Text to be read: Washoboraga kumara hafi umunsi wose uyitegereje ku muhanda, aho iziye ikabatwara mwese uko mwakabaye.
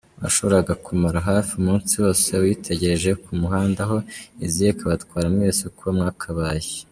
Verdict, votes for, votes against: accepted, 2, 1